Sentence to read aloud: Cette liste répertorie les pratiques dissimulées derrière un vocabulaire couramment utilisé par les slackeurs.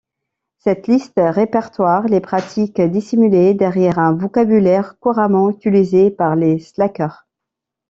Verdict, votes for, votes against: rejected, 0, 2